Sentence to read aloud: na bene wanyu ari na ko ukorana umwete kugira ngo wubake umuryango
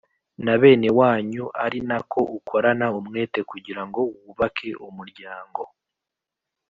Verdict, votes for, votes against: accepted, 2, 0